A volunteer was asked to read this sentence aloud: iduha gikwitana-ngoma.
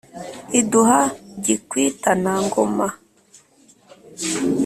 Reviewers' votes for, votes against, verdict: 2, 0, accepted